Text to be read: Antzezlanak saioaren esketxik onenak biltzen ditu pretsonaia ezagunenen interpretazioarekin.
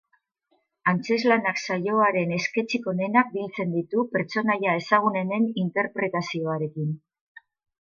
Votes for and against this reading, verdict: 2, 0, accepted